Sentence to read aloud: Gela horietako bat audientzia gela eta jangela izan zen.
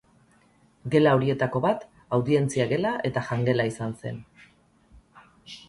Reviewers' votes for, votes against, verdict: 2, 2, rejected